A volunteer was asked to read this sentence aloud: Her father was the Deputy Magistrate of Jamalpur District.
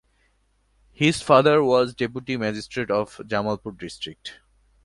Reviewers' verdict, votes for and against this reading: rejected, 0, 2